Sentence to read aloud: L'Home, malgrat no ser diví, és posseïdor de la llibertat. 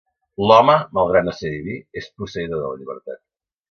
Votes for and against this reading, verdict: 2, 0, accepted